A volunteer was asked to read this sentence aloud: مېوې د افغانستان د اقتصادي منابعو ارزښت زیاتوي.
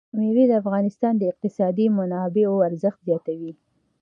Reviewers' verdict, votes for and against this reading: accepted, 2, 0